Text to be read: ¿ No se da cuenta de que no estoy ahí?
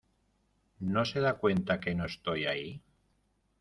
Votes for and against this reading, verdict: 0, 2, rejected